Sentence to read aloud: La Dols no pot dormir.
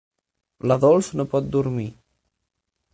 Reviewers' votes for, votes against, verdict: 6, 0, accepted